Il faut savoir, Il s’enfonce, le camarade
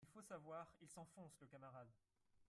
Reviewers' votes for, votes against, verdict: 1, 3, rejected